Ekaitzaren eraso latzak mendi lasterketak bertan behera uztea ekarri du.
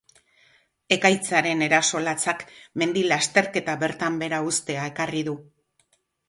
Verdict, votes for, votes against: accepted, 4, 0